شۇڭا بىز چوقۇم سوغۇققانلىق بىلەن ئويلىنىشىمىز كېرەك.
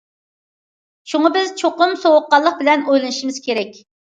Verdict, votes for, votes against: accepted, 2, 1